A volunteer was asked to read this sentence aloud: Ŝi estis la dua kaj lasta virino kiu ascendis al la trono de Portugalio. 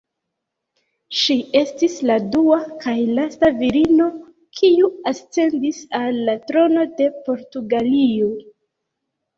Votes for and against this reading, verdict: 0, 2, rejected